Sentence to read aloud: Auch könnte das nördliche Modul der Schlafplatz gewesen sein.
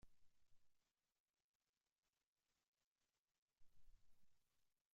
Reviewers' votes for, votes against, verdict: 0, 2, rejected